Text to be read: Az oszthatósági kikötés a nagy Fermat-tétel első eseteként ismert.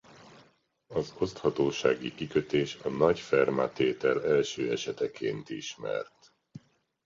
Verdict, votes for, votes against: accepted, 2, 0